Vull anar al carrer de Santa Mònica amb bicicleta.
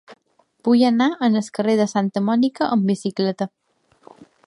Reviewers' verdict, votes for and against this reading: rejected, 0, 2